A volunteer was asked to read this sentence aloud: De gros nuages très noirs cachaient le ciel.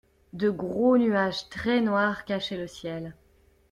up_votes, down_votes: 2, 0